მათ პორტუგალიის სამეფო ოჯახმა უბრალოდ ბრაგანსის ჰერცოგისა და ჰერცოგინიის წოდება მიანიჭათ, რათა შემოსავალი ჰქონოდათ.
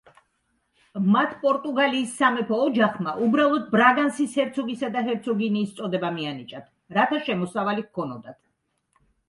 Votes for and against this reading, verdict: 3, 0, accepted